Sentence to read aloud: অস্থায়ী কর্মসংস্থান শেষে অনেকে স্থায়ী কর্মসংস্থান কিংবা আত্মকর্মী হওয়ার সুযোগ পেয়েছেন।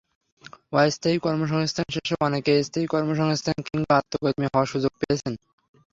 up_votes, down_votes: 3, 0